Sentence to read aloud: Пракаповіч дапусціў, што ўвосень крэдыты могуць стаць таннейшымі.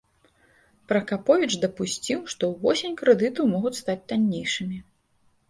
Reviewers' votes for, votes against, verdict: 2, 0, accepted